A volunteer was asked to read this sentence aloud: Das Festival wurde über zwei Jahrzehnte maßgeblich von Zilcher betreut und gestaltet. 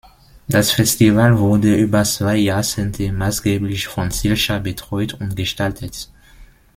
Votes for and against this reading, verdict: 1, 2, rejected